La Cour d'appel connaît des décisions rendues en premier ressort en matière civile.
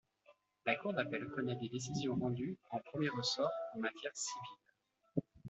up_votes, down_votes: 2, 1